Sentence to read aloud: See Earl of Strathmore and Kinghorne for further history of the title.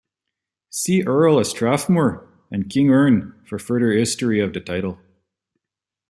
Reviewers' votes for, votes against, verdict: 1, 2, rejected